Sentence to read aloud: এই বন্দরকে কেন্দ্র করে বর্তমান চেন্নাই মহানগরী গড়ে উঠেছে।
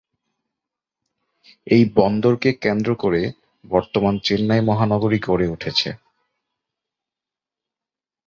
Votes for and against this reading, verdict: 3, 0, accepted